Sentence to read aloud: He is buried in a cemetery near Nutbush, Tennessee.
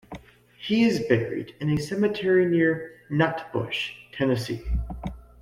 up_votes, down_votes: 2, 0